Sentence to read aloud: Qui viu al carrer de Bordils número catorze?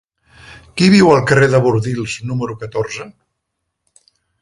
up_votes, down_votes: 3, 0